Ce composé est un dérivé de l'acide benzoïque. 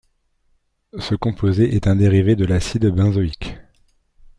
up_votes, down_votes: 1, 2